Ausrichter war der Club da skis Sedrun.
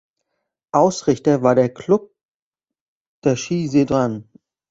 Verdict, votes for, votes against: rejected, 1, 2